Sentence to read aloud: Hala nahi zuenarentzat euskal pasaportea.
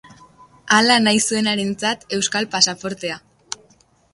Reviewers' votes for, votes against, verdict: 2, 0, accepted